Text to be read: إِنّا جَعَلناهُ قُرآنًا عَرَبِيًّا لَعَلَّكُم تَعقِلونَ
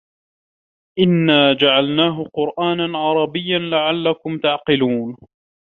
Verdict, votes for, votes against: accepted, 2, 0